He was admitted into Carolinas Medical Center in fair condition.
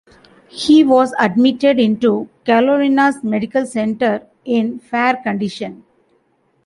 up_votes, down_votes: 1, 2